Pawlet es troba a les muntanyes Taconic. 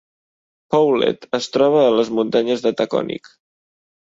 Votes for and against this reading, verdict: 1, 2, rejected